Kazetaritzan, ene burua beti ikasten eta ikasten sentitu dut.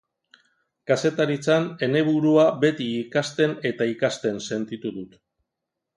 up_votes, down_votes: 2, 0